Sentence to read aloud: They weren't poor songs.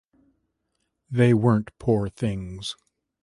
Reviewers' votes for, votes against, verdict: 0, 2, rejected